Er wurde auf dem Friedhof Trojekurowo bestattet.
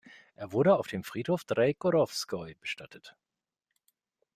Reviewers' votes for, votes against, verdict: 1, 2, rejected